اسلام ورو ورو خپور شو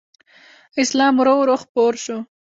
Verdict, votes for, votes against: rejected, 0, 2